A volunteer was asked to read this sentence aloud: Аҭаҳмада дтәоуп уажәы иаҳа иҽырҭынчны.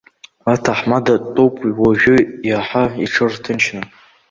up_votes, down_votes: 2, 3